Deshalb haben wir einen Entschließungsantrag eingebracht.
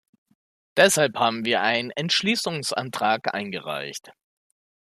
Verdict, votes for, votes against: rejected, 0, 2